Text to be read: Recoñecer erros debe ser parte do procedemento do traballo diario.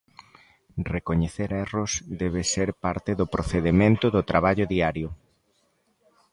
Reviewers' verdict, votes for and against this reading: accepted, 2, 0